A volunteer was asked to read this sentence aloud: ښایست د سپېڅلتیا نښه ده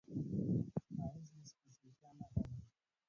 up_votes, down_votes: 1, 2